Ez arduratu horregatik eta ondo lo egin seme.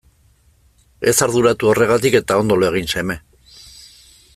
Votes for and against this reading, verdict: 2, 0, accepted